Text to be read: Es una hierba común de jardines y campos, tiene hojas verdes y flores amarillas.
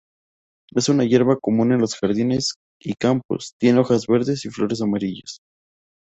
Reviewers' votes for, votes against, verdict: 0, 2, rejected